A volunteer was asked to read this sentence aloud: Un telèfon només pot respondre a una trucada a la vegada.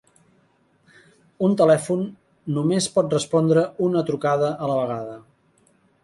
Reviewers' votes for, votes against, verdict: 0, 2, rejected